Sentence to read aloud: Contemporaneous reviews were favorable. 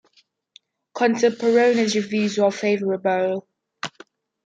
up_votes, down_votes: 2, 0